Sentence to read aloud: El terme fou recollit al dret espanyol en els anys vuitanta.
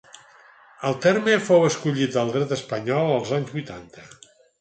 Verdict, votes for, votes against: rejected, 2, 4